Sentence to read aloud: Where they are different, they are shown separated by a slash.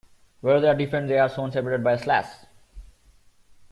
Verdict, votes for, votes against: accepted, 2, 0